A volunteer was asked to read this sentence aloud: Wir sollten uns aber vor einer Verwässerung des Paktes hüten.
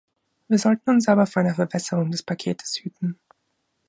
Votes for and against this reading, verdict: 0, 2, rejected